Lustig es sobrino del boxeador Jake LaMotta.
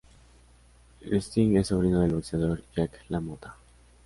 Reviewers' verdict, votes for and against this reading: accepted, 2, 0